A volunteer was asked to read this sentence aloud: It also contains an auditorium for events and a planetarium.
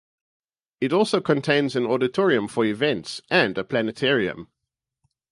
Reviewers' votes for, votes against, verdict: 2, 2, rejected